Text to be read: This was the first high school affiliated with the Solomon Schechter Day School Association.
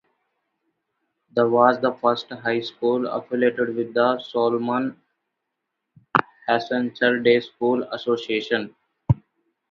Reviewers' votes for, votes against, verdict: 0, 2, rejected